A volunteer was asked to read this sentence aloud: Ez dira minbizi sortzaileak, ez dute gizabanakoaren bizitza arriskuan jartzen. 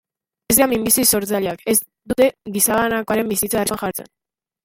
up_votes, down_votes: 0, 2